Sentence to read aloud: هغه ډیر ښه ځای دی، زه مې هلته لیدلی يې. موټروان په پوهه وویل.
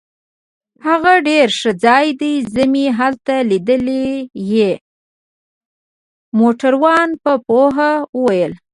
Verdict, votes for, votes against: rejected, 1, 2